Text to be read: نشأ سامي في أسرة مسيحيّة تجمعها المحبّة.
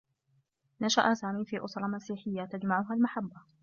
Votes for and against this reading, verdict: 0, 2, rejected